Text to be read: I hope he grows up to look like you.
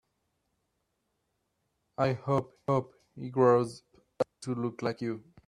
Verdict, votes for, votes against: rejected, 1, 2